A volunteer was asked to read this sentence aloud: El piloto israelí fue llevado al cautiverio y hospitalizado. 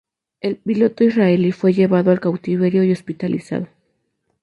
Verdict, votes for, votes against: accepted, 2, 0